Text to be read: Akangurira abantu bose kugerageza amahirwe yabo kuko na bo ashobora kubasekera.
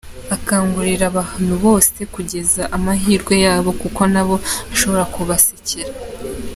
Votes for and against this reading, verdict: 0, 2, rejected